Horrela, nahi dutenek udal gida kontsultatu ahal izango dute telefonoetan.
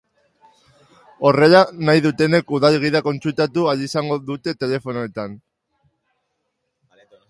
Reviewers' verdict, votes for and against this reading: accepted, 2, 0